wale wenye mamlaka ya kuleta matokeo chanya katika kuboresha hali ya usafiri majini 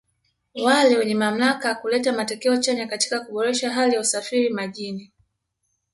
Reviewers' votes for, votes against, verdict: 2, 0, accepted